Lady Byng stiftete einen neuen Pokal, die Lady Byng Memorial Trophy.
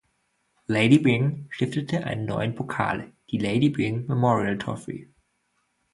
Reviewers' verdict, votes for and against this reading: accepted, 2, 0